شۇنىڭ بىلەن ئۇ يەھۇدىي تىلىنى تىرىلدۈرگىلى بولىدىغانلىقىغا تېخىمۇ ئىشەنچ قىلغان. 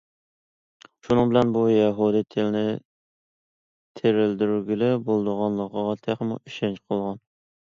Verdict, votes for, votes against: accepted, 2, 0